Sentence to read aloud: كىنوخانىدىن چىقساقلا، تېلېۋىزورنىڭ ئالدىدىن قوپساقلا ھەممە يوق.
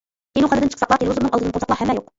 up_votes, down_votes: 1, 2